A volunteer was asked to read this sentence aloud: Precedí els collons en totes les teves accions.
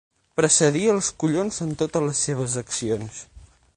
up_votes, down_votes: 0, 6